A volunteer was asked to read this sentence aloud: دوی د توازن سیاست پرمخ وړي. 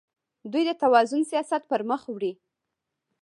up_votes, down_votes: 1, 2